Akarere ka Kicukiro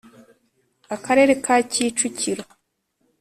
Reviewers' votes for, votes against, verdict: 3, 0, accepted